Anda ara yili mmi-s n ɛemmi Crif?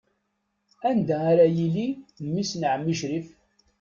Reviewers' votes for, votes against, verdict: 2, 0, accepted